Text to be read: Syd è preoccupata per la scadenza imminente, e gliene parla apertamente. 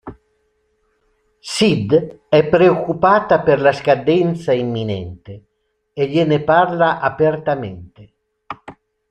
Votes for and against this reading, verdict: 2, 0, accepted